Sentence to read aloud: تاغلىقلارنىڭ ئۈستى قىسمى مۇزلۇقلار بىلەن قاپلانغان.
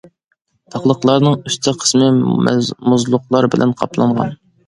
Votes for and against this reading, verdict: 0, 2, rejected